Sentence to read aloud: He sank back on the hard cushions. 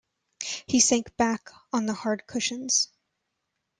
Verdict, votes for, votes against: rejected, 1, 2